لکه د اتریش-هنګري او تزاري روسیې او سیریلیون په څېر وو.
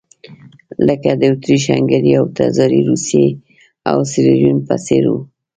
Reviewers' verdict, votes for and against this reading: accepted, 2, 0